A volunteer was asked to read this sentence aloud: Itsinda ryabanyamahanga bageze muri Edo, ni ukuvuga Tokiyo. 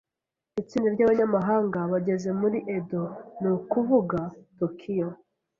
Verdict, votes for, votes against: accepted, 2, 0